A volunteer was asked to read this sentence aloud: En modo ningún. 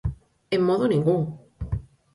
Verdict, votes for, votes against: accepted, 4, 0